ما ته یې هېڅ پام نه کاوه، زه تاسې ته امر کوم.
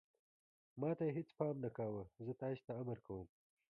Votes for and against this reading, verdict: 1, 2, rejected